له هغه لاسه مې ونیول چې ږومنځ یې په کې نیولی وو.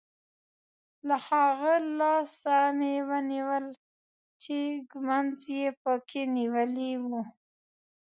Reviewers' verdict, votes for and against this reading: rejected, 1, 2